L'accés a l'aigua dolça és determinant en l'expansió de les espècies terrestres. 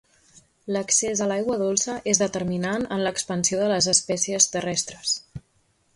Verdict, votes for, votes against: accepted, 2, 0